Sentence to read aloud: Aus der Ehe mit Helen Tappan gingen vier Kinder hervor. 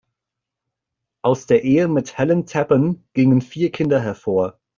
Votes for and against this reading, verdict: 2, 0, accepted